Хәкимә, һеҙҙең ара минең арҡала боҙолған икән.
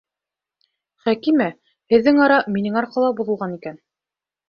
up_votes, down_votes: 2, 0